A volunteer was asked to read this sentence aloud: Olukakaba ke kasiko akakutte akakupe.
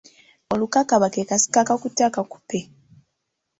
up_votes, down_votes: 2, 0